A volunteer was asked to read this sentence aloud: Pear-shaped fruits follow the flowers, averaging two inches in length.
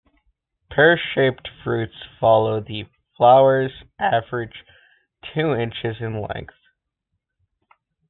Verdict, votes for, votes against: rejected, 0, 2